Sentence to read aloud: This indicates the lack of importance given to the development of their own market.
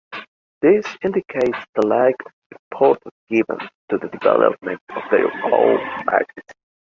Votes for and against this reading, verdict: 0, 2, rejected